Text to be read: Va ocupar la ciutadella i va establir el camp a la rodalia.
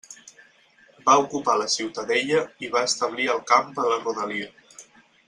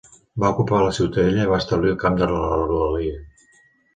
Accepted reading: first